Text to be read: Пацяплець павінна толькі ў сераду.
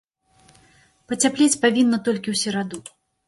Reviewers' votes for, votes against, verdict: 2, 0, accepted